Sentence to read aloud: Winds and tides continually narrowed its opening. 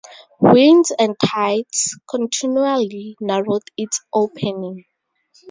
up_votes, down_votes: 2, 0